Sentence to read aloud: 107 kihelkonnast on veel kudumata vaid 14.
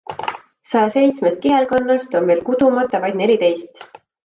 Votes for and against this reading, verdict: 0, 2, rejected